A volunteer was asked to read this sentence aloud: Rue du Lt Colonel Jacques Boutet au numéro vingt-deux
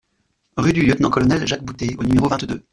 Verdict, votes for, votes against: rejected, 0, 2